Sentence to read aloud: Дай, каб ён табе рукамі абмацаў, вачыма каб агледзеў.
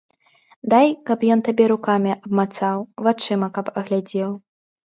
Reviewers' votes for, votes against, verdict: 0, 2, rejected